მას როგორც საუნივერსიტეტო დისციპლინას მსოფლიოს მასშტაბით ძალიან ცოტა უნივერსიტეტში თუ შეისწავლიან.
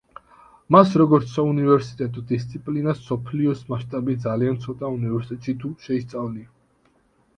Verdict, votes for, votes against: rejected, 0, 2